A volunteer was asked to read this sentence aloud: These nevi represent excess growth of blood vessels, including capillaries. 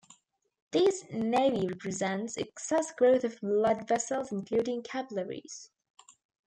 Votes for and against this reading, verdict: 2, 0, accepted